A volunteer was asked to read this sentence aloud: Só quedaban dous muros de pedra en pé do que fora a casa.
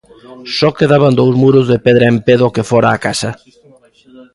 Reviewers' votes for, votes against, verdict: 2, 0, accepted